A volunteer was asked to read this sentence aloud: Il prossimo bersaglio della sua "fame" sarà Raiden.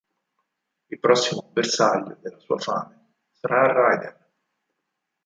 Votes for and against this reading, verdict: 0, 4, rejected